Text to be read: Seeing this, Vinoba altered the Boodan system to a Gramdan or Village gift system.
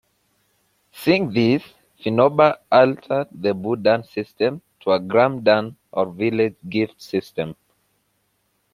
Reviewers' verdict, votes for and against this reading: rejected, 1, 2